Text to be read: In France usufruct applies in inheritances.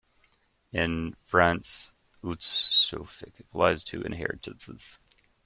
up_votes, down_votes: 0, 2